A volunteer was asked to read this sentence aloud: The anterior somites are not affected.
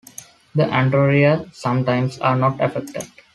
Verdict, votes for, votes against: rejected, 0, 2